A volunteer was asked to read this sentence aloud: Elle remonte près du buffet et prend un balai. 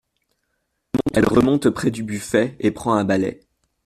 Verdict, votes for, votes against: rejected, 1, 2